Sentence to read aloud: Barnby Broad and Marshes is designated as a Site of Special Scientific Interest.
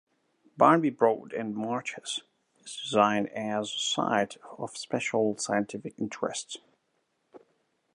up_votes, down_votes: 0, 2